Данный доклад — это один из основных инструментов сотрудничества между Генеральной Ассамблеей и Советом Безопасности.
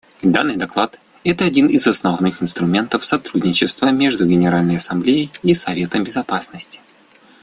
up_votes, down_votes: 2, 0